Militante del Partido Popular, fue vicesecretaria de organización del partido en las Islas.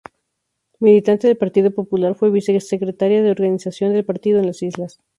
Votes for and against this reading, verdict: 2, 0, accepted